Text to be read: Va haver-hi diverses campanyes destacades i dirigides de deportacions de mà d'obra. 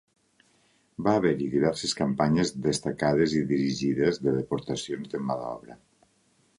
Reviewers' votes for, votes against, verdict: 2, 0, accepted